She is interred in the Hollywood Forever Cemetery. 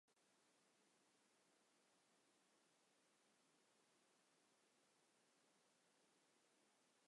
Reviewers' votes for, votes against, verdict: 0, 2, rejected